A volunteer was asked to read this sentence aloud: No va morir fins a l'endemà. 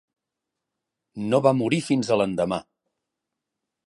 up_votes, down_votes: 3, 0